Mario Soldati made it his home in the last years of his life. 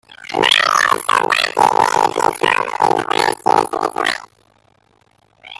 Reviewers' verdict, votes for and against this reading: rejected, 0, 2